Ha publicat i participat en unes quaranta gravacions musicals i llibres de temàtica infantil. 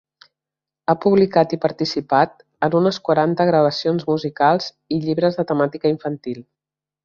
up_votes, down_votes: 3, 0